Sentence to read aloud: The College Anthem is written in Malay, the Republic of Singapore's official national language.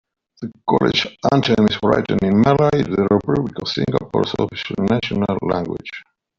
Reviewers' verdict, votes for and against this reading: accepted, 2, 0